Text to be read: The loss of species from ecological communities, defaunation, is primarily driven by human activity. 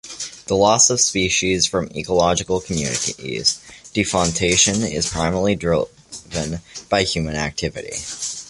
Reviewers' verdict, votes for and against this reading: rejected, 1, 2